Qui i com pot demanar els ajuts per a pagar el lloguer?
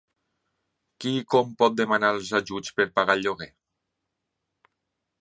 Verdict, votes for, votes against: accepted, 3, 0